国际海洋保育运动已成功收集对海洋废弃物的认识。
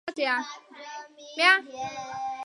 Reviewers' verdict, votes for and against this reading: rejected, 0, 2